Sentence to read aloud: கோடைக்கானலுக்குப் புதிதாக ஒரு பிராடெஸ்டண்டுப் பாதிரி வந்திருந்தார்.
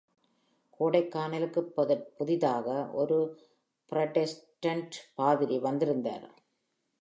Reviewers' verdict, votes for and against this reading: rejected, 1, 2